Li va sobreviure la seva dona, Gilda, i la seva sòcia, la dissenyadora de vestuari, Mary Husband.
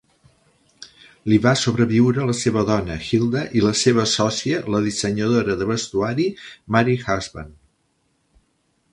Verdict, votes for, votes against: accepted, 2, 0